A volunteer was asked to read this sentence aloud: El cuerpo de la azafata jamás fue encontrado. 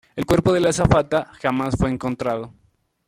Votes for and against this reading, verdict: 3, 1, accepted